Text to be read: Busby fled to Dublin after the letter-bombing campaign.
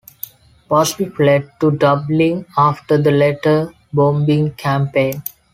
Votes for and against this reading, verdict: 2, 0, accepted